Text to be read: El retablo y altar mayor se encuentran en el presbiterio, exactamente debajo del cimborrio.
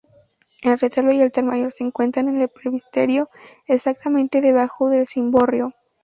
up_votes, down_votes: 2, 0